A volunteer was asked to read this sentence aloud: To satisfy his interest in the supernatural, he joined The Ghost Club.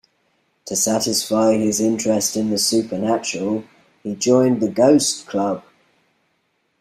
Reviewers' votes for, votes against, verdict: 2, 0, accepted